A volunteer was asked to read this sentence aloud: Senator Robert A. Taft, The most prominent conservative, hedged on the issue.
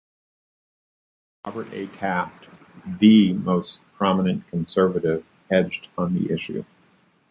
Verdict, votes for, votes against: rejected, 0, 2